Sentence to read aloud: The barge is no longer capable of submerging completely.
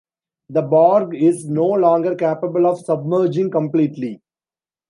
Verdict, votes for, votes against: rejected, 1, 2